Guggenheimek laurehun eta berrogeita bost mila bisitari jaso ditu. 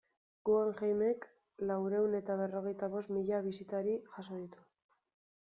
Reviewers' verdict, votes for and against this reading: rejected, 0, 2